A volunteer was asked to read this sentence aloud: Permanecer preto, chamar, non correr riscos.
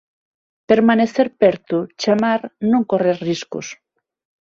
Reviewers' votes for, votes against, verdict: 3, 6, rejected